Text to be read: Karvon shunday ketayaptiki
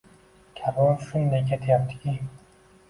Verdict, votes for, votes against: accepted, 2, 1